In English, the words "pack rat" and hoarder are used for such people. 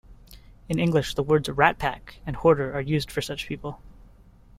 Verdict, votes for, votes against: rejected, 0, 2